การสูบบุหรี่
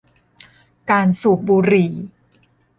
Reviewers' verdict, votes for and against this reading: accepted, 2, 0